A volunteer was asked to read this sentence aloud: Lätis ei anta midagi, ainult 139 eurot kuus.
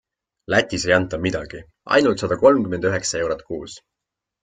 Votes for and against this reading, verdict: 0, 2, rejected